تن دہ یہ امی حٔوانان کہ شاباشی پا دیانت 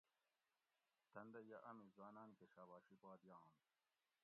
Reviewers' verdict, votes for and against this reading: rejected, 1, 2